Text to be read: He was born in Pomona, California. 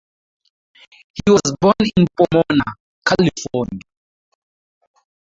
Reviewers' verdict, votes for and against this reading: rejected, 0, 4